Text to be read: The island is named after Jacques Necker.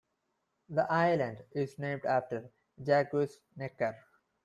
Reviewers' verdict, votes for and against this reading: rejected, 0, 2